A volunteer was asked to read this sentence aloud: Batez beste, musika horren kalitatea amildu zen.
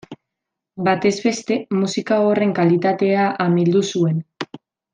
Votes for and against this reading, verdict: 1, 2, rejected